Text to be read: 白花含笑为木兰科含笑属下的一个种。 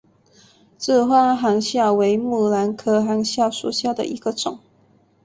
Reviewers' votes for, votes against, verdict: 1, 3, rejected